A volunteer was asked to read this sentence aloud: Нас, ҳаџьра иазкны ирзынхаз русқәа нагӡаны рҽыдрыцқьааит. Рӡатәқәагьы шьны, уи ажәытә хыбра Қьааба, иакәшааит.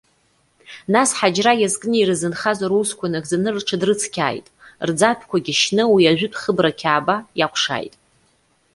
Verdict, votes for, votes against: accepted, 2, 0